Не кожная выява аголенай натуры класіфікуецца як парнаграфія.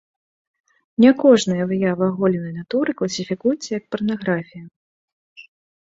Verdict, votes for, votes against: accepted, 2, 0